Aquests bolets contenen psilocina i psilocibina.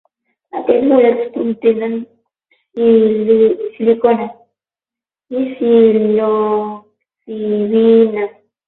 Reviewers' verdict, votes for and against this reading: rejected, 0, 12